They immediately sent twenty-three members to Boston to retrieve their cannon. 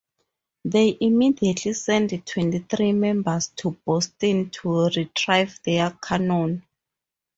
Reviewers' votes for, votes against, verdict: 0, 2, rejected